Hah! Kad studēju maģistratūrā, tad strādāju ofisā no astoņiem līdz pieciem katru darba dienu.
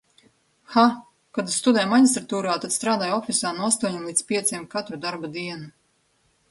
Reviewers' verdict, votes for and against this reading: accepted, 2, 1